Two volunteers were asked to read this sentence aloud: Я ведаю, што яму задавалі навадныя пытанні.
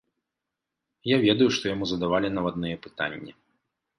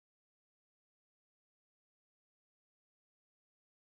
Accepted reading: first